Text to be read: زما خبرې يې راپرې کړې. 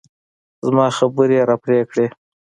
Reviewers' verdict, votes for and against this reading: rejected, 0, 2